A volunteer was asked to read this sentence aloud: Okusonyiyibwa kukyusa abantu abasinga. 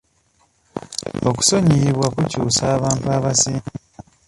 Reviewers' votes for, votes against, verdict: 1, 2, rejected